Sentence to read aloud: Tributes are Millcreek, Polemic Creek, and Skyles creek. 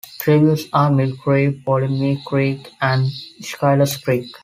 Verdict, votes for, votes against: accepted, 2, 0